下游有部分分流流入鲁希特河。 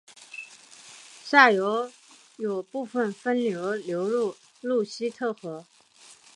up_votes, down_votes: 4, 0